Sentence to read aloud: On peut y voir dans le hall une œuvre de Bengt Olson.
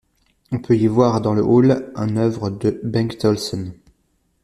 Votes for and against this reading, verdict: 1, 2, rejected